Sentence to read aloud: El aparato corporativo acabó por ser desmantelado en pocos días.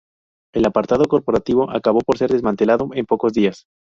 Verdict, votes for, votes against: rejected, 0, 2